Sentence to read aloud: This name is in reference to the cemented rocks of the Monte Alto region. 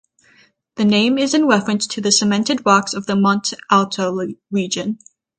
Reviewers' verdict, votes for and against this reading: rejected, 3, 6